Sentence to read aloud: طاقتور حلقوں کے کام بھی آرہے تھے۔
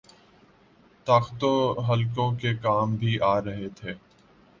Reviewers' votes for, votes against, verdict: 0, 2, rejected